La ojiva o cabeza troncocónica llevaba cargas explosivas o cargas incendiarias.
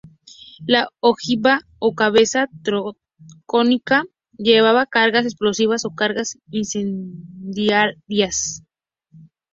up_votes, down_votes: 0, 2